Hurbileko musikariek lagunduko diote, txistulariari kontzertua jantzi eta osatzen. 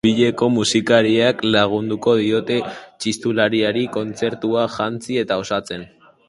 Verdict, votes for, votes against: rejected, 2, 4